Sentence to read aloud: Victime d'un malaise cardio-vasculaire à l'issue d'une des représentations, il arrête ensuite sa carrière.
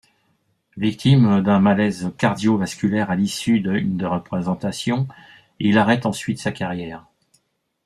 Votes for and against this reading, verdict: 1, 2, rejected